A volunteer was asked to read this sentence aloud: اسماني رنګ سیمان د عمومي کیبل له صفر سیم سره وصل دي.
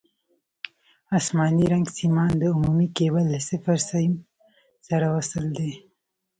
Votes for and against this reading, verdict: 2, 1, accepted